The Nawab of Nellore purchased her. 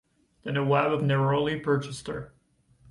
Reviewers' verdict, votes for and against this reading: accepted, 2, 1